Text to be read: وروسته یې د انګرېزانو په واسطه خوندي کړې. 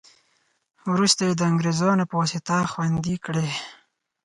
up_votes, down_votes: 4, 0